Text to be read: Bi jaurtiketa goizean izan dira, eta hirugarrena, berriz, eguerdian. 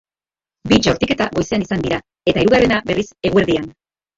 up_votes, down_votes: 0, 2